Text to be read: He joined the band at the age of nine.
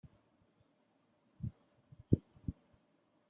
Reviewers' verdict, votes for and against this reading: rejected, 0, 2